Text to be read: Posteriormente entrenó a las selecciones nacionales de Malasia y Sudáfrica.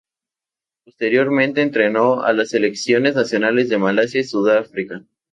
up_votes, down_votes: 2, 0